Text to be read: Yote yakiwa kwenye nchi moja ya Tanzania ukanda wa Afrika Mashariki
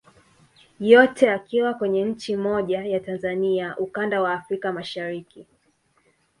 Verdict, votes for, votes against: accepted, 2, 1